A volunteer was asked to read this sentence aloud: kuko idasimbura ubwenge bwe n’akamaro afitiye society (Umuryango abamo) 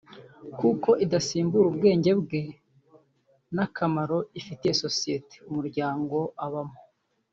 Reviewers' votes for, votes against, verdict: 1, 3, rejected